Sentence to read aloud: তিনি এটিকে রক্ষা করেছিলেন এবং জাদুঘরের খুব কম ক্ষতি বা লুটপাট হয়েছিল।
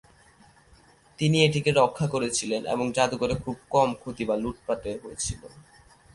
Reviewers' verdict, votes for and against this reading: rejected, 0, 2